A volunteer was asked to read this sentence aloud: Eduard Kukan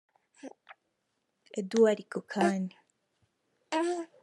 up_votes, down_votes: 2, 0